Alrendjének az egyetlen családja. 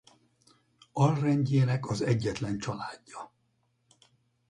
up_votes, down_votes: 4, 0